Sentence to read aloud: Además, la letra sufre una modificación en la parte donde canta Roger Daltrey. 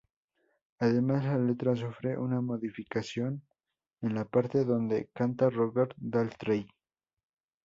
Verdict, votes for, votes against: accepted, 2, 0